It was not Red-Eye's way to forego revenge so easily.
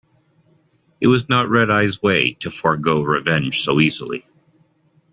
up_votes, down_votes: 2, 0